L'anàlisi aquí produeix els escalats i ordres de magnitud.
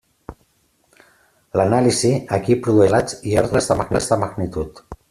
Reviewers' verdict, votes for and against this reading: rejected, 0, 2